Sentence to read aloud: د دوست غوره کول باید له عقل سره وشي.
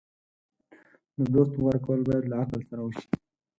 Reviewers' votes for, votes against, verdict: 4, 2, accepted